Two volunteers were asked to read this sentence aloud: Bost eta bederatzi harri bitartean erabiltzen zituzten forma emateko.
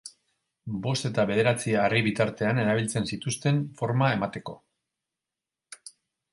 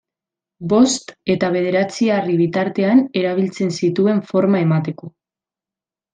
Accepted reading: first